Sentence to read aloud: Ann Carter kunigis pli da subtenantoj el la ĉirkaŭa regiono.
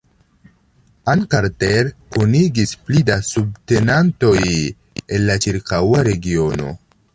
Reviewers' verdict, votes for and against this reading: accepted, 2, 1